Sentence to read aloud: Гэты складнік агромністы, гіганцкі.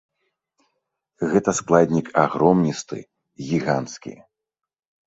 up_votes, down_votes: 1, 2